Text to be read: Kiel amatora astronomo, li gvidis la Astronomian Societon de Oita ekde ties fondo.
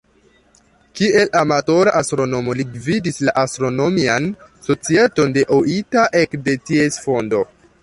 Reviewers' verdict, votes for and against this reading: rejected, 1, 2